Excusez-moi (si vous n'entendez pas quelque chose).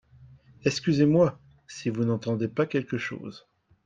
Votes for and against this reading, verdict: 2, 0, accepted